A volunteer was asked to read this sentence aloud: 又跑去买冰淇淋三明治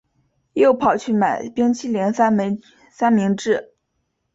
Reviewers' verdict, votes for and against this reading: accepted, 2, 0